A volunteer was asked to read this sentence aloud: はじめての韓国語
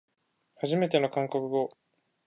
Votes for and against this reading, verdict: 2, 0, accepted